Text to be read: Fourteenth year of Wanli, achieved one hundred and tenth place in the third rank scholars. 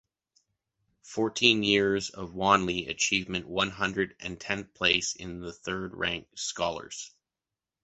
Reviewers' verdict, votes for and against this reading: rejected, 1, 2